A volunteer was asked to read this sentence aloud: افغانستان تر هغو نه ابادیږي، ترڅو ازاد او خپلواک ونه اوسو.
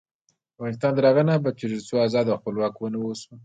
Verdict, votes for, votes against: rejected, 0, 2